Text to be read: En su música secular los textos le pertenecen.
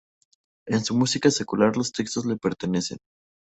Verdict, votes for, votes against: rejected, 0, 2